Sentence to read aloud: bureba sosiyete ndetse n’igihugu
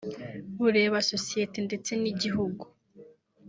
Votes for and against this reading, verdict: 2, 0, accepted